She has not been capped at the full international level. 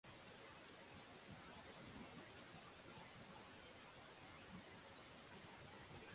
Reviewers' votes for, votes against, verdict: 0, 6, rejected